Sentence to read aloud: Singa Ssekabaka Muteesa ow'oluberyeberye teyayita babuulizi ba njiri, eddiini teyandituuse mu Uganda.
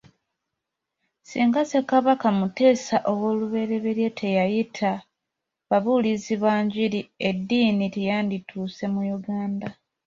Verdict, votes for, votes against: accepted, 2, 0